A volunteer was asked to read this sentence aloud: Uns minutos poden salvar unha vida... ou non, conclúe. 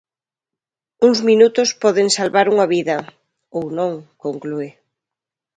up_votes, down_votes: 2, 0